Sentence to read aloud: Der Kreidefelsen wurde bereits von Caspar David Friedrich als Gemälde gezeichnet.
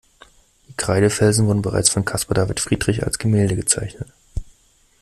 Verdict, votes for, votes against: rejected, 1, 2